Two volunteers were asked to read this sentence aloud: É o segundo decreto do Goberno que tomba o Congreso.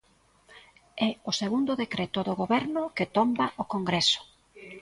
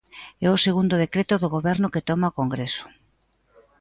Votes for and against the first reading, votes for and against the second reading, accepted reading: 2, 0, 0, 2, first